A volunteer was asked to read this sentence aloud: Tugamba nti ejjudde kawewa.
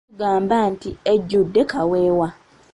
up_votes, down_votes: 1, 2